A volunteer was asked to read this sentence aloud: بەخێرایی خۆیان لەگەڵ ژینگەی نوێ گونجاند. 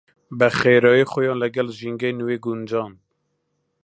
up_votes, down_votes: 1, 2